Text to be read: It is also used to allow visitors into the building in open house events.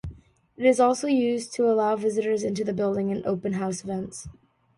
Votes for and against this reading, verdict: 2, 0, accepted